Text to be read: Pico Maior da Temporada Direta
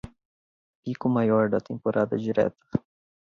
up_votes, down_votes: 2, 0